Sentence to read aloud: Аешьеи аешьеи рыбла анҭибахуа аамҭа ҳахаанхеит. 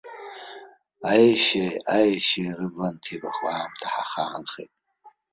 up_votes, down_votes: 2, 1